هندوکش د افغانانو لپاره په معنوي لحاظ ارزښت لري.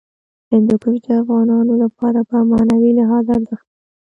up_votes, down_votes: 0, 2